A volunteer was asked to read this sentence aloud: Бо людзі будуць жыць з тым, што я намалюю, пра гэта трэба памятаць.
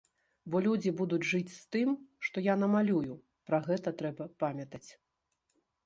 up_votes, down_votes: 2, 0